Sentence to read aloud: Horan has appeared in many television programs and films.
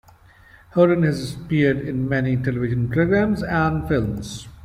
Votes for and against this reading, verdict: 2, 1, accepted